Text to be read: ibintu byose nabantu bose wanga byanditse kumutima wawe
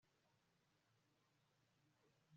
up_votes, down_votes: 1, 2